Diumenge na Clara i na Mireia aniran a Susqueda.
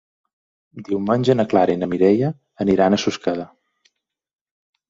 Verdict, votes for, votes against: accepted, 2, 0